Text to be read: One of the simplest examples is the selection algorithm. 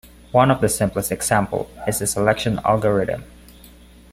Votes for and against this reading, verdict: 1, 2, rejected